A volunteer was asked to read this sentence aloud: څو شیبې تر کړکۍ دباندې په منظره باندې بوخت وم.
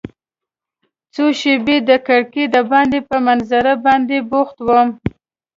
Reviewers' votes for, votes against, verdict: 3, 0, accepted